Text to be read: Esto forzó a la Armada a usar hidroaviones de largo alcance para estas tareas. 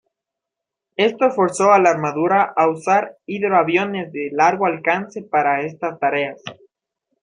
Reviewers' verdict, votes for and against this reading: rejected, 0, 2